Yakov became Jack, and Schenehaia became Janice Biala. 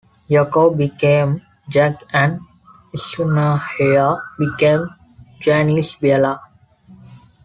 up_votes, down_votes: 2, 1